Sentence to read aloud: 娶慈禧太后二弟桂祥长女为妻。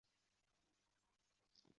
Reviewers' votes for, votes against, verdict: 0, 3, rejected